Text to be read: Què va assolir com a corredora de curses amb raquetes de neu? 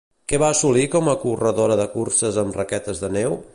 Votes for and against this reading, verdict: 2, 0, accepted